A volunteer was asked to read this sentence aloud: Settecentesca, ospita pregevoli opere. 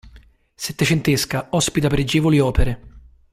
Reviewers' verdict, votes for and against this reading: accepted, 2, 0